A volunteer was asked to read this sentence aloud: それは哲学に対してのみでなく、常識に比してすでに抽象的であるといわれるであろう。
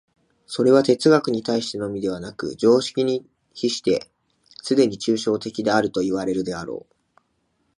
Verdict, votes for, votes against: accepted, 2, 0